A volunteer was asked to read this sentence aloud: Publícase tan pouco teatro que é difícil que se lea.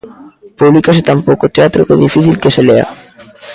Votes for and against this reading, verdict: 2, 1, accepted